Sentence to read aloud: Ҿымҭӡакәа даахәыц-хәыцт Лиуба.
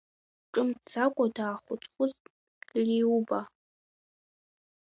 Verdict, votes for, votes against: rejected, 1, 2